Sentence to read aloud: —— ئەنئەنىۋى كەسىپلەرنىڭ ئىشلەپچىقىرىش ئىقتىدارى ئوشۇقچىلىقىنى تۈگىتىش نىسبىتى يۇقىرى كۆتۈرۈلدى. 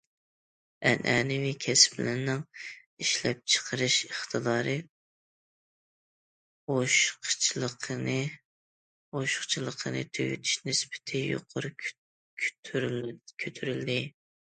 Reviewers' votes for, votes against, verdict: 0, 2, rejected